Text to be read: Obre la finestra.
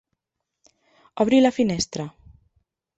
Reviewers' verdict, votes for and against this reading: rejected, 1, 2